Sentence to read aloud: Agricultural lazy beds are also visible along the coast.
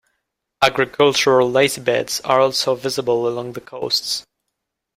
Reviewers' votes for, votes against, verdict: 0, 2, rejected